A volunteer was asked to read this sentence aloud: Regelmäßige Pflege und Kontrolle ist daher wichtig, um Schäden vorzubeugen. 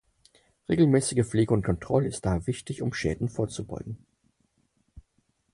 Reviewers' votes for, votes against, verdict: 6, 0, accepted